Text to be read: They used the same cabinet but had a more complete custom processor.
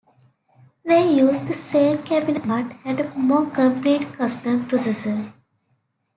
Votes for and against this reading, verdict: 1, 2, rejected